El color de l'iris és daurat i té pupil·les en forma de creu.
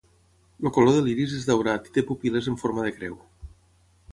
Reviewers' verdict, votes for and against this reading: rejected, 3, 3